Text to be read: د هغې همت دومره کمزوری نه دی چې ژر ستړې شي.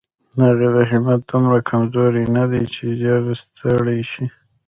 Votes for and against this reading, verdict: 2, 0, accepted